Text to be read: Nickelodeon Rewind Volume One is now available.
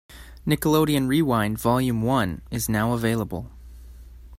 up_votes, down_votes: 2, 0